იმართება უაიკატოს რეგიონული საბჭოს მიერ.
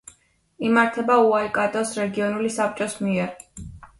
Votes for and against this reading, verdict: 2, 0, accepted